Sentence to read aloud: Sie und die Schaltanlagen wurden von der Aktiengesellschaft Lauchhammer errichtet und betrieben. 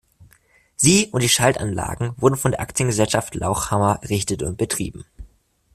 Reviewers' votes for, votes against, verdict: 1, 2, rejected